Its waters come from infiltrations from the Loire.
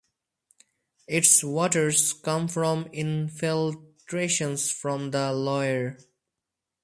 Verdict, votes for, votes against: rejected, 2, 4